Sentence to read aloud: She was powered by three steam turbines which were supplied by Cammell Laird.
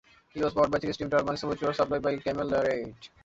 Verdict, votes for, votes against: rejected, 0, 2